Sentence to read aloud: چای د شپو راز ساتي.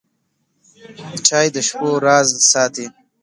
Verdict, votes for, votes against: accepted, 2, 0